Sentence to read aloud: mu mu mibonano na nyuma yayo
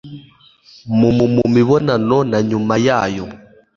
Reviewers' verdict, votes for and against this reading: accepted, 2, 0